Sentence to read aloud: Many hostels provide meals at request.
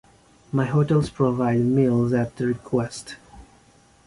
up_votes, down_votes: 0, 2